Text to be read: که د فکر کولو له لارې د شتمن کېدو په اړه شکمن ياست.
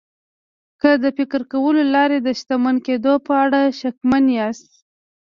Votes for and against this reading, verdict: 2, 0, accepted